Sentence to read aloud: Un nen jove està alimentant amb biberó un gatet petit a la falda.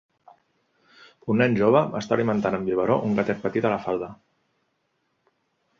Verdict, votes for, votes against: accepted, 3, 0